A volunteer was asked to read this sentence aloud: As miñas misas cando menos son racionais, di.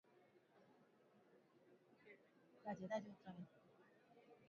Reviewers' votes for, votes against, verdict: 0, 2, rejected